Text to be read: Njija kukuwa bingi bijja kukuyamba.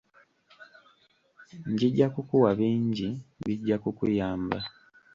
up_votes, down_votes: 2, 1